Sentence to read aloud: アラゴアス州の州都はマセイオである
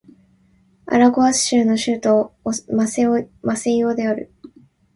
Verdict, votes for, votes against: rejected, 1, 2